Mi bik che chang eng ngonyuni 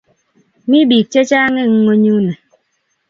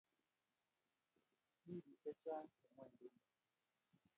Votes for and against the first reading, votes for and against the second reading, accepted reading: 2, 0, 0, 2, first